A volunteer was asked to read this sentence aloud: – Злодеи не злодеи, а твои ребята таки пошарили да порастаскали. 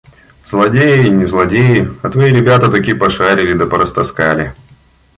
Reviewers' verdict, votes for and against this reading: accepted, 2, 0